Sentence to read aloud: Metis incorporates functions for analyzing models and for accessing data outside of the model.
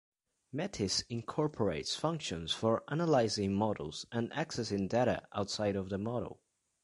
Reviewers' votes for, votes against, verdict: 0, 2, rejected